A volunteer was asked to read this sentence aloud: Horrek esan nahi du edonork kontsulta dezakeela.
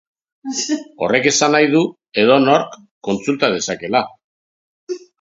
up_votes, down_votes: 3, 1